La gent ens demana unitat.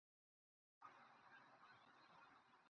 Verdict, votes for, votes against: rejected, 0, 2